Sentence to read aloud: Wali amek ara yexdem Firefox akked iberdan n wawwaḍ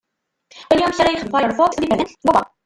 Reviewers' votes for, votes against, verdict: 0, 2, rejected